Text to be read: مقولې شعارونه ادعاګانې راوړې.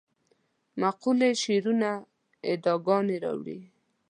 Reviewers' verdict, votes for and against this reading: rejected, 1, 2